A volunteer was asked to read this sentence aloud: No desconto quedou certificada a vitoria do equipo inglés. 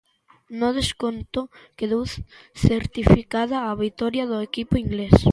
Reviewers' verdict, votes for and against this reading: rejected, 0, 2